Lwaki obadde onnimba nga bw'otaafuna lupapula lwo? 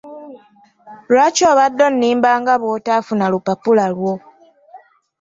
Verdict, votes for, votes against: accepted, 2, 0